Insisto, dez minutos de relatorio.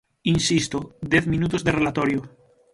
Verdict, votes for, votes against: accepted, 6, 3